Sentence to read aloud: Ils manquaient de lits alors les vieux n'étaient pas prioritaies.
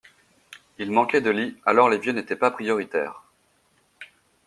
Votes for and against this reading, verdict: 2, 0, accepted